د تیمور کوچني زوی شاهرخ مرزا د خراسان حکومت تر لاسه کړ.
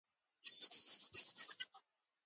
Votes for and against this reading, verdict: 1, 2, rejected